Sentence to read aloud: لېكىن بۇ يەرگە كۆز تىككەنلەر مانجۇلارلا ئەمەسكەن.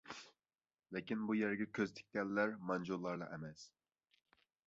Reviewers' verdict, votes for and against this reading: rejected, 1, 2